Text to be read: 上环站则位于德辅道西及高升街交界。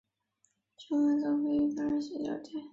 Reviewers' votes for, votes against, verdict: 0, 5, rejected